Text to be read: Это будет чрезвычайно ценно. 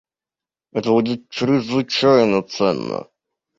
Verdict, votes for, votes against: rejected, 0, 2